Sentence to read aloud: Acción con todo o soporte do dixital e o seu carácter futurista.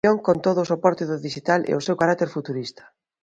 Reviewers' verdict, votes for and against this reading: rejected, 1, 2